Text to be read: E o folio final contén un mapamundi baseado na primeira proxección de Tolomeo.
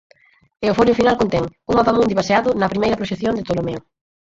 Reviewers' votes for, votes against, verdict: 2, 4, rejected